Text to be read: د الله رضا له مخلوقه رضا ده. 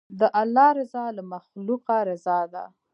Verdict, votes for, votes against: accepted, 2, 0